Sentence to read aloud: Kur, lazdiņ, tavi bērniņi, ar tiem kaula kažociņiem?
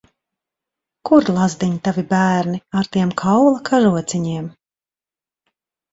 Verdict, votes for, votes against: rejected, 1, 2